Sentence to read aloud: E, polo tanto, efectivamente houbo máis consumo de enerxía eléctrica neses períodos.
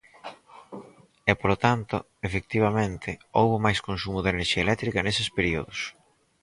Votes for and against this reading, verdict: 4, 0, accepted